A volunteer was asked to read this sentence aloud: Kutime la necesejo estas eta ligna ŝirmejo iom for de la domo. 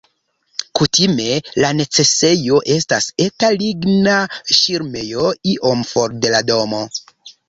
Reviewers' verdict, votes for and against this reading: accepted, 2, 0